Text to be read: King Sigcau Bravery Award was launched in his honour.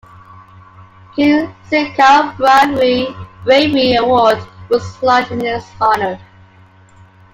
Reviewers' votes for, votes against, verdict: 2, 0, accepted